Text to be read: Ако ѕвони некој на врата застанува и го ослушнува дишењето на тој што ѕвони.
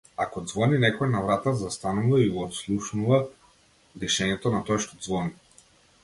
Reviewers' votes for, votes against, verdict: 1, 2, rejected